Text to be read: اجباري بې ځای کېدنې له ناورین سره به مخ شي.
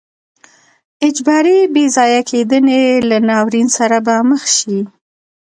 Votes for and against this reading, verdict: 2, 0, accepted